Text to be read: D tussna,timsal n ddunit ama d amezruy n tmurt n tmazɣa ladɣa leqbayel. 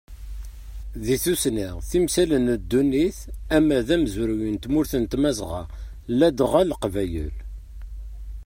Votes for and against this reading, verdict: 0, 2, rejected